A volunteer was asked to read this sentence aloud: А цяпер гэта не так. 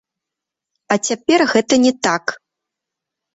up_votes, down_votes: 3, 2